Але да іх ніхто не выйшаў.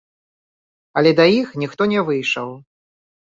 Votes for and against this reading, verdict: 1, 2, rejected